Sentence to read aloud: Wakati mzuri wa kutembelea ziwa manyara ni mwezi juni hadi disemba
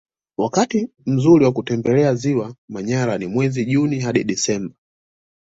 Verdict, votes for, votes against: accepted, 2, 0